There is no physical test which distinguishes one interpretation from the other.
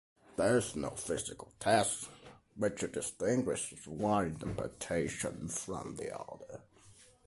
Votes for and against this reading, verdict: 2, 0, accepted